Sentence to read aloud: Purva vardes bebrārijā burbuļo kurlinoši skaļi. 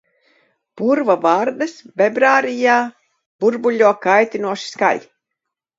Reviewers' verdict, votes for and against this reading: rejected, 0, 2